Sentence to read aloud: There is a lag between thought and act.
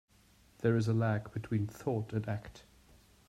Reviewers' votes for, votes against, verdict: 2, 0, accepted